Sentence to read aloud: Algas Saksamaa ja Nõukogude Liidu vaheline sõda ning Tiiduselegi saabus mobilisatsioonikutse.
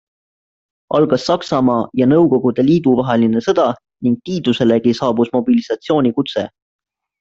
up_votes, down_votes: 2, 0